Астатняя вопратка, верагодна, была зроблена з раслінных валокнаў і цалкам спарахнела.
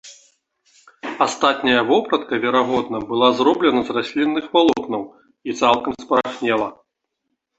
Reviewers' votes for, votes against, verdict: 2, 0, accepted